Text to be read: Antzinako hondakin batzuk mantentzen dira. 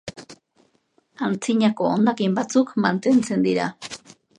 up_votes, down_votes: 2, 0